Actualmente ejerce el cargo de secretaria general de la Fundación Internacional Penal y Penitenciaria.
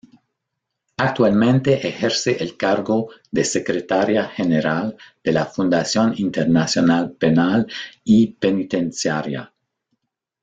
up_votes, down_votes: 2, 0